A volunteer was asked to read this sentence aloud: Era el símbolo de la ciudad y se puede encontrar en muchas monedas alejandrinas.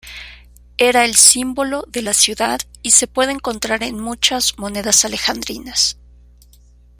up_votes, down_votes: 2, 0